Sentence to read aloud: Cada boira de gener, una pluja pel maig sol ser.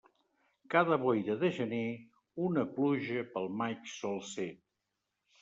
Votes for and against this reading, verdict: 2, 0, accepted